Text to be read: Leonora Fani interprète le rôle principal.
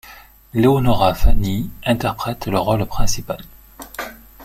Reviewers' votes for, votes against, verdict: 2, 0, accepted